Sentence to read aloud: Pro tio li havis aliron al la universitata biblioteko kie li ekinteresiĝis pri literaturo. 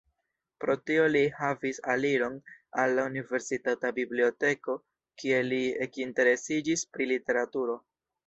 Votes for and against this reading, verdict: 2, 0, accepted